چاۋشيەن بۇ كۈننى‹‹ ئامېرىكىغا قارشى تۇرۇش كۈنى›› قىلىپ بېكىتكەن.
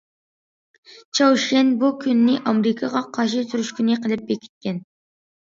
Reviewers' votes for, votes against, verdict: 1, 2, rejected